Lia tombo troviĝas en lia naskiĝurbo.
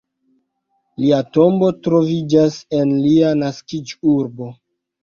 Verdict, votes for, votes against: accepted, 2, 1